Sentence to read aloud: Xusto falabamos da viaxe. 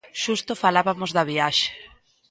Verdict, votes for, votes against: rejected, 1, 2